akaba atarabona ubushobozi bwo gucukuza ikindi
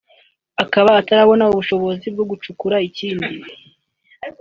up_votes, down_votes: 1, 2